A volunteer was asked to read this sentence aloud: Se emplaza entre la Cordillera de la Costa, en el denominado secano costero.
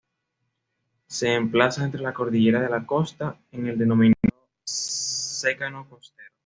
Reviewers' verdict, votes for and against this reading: accepted, 2, 1